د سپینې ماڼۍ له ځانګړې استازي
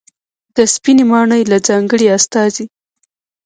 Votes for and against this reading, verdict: 0, 2, rejected